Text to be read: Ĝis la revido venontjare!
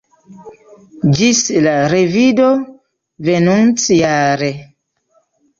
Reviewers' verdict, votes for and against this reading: accepted, 2, 0